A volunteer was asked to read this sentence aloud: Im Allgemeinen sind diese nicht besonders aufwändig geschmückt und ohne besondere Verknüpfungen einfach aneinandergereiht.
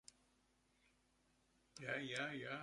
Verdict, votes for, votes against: rejected, 0, 2